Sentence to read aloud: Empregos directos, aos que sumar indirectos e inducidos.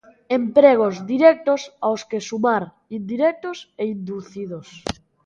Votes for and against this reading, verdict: 2, 0, accepted